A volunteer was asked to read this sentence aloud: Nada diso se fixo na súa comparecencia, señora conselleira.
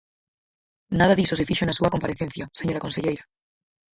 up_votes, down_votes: 0, 4